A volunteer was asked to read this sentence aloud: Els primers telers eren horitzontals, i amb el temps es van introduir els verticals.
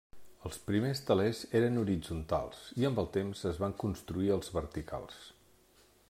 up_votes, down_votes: 0, 2